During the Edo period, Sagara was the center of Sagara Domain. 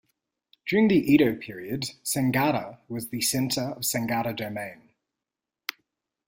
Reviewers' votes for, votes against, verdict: 0, 2, rejected